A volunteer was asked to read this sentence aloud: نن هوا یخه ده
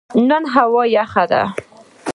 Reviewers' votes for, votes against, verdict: 2, 1, accepted